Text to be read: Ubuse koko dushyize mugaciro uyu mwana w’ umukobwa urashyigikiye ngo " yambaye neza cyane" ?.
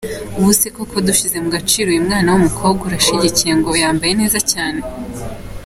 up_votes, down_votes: 2, 0